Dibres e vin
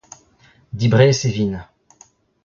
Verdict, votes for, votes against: rejected, 0, 2